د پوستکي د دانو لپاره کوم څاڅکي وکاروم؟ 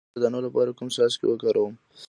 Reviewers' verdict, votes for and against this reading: rejected, 0, 2